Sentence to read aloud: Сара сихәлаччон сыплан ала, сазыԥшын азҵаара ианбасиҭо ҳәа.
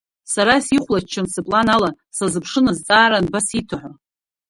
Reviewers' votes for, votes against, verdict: 1, 2, rejected